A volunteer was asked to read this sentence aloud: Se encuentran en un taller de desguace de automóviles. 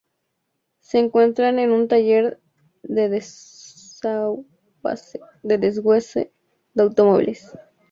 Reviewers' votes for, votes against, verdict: 0, 2, rejected